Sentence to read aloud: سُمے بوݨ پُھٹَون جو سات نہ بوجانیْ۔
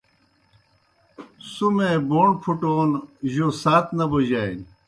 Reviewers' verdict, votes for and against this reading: accepted, 2, 0